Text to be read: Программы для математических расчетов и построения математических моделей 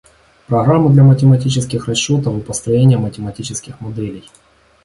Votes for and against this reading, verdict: 2, 0, accepted